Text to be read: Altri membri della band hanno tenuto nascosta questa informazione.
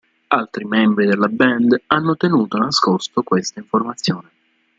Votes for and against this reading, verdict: 1, 2, rejected